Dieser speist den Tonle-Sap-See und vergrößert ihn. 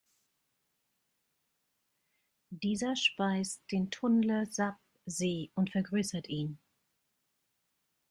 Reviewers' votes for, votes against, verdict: 1, 2, rejected